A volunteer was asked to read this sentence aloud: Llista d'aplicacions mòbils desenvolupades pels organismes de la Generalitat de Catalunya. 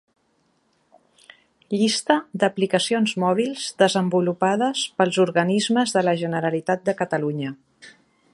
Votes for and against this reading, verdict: 2, 0, accepted